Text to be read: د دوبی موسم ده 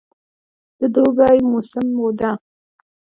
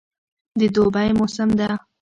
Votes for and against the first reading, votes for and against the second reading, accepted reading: 2, 0, 1, 2, first